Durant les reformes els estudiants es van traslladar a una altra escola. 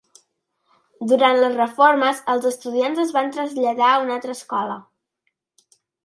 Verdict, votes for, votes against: accepted, 2, 0